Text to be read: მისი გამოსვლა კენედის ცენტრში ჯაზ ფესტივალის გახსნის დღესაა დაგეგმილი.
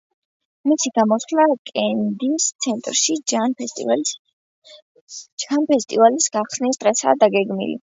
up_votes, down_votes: 0, 2